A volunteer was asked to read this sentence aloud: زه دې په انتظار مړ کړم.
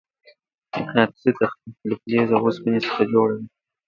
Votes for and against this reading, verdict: 0, 2, rejected